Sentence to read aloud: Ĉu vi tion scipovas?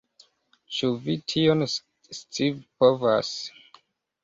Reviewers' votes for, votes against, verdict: 2, 0, accepted